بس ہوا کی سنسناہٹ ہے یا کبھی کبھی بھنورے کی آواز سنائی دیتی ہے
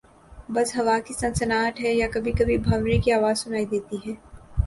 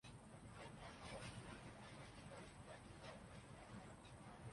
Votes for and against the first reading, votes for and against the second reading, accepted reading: 2, 0, 0, 2, first